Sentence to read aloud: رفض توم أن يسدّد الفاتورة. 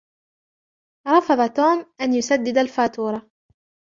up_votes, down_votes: 2, 0